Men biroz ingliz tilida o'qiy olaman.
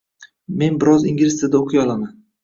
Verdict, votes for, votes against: rejected, 0, 2